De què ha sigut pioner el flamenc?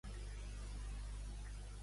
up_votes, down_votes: 0, 2